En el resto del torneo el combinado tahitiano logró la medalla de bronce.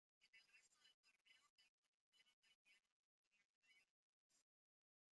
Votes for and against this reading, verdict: 0, 2, rejected